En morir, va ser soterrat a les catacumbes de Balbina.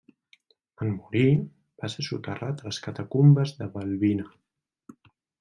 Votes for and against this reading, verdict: 2, 1, accepted